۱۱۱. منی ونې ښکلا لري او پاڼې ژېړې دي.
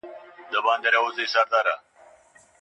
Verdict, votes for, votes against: rejected, 0, 2